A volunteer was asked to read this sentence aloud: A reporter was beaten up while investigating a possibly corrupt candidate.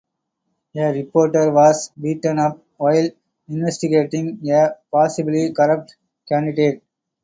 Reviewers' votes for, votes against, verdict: 4, 0, accepted